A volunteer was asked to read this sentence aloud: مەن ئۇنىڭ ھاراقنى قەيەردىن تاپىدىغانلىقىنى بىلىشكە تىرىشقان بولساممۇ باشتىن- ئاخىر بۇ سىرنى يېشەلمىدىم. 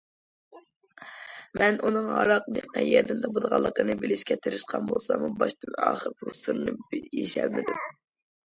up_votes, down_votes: 0, 2